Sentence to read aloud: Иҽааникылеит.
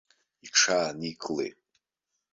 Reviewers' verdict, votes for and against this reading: accepted, 2, 0